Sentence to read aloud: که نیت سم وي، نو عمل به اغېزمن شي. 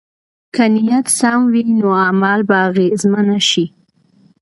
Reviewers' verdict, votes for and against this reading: accepted, 2, 0